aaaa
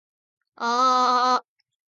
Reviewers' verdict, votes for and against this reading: accepted, 2, 0